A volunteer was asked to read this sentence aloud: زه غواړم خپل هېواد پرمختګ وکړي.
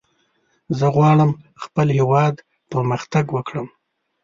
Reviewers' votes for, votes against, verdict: 1, 2, rejected